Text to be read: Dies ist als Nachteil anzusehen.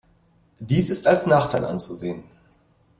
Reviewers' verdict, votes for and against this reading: accepted, 2, 0